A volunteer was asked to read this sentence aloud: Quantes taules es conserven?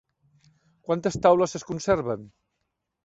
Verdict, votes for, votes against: accepted, 3, 0